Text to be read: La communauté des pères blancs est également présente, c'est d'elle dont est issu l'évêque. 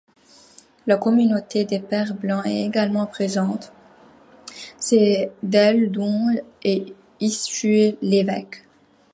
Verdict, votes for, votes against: rejected, 0, 2